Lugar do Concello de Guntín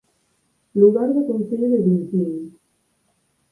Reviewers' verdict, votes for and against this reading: accepted, 6, 4